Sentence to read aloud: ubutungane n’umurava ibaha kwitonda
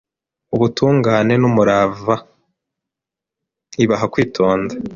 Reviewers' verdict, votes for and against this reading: accepted, 2, 0